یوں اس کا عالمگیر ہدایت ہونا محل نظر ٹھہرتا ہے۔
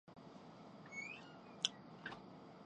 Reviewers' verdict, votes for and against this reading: rejected, 0, 2